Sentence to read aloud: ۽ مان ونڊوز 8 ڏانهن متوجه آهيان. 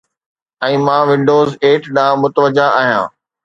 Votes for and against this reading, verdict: 0, 2, rejected